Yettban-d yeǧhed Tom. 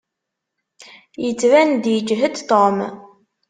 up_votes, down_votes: 2, 0